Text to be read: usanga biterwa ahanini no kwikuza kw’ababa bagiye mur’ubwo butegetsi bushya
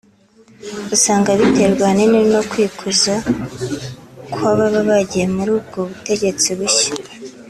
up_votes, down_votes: 2, 0